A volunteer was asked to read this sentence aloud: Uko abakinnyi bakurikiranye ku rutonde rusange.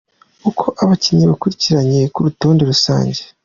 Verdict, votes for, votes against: accepted, 2, 0